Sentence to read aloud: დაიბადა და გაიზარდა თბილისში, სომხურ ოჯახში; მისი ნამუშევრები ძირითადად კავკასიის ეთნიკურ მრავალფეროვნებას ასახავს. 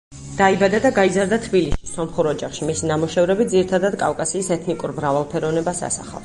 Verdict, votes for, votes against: rejected, 2, 2